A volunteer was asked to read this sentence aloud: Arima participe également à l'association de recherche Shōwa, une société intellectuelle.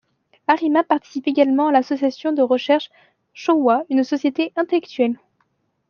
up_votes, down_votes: 2, 1